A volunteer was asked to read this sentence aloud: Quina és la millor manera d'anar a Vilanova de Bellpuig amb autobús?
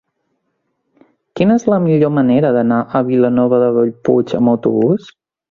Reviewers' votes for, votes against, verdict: 2, 0, accepted